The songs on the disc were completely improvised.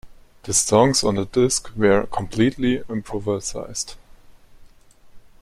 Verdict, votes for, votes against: rejected, 0, 2